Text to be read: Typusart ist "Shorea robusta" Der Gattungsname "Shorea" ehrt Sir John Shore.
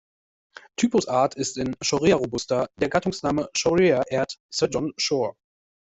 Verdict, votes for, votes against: rejected, 1, 2